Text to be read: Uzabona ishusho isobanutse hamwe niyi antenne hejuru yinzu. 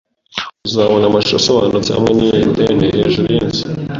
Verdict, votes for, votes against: rejected, 1, 2